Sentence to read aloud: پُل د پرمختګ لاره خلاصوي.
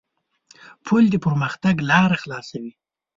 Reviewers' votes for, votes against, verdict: 2, 0, accepted